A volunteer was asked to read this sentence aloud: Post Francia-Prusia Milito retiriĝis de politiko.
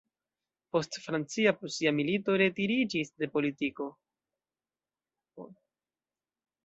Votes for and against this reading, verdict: 0, 2, rejected